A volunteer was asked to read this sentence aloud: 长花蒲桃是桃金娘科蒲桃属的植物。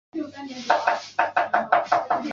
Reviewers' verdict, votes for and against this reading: rejected, 0, 2